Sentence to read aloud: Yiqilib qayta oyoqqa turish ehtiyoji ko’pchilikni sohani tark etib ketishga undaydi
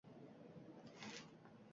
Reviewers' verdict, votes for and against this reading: rejected, 0, 2